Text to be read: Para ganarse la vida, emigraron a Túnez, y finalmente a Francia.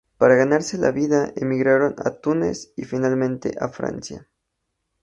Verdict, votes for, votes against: accepted, 4, 0